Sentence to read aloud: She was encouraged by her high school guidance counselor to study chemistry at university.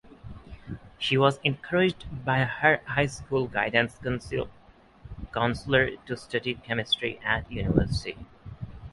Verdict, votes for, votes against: rejected, 0, 6